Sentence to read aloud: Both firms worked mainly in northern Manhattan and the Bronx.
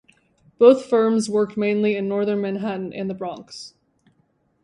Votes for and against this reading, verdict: 2, 0, accepted